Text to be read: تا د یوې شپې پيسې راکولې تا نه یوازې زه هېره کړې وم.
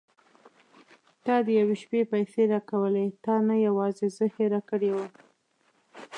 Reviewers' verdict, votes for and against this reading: accepted, 2, 0